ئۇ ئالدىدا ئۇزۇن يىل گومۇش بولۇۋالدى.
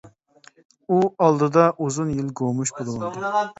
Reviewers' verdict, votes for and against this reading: rejected, 0, 2